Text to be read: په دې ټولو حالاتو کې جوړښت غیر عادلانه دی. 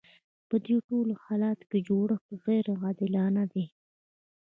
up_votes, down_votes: 2, 1